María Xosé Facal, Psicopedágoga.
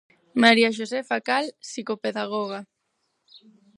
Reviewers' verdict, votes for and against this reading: accepted, 2, 0